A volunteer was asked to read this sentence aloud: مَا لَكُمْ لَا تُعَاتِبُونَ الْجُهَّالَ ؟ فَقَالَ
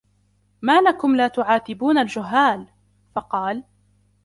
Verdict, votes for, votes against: accepted, 2, 0